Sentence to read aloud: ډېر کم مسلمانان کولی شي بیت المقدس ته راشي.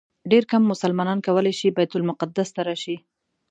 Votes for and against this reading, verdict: 2, 0, accepted